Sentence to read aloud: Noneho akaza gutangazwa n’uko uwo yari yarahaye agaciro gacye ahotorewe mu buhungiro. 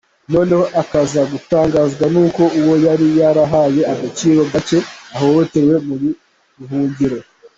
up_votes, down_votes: 2, 1